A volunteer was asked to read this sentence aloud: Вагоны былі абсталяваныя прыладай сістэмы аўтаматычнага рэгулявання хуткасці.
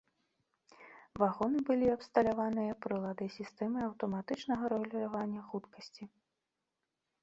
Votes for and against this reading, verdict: 2, 1, accepted